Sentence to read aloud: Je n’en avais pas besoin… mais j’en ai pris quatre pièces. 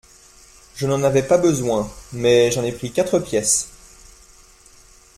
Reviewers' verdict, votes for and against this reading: accepted, 2, 0